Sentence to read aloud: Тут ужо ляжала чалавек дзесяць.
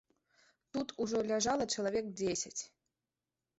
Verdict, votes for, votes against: accepted, 2, 0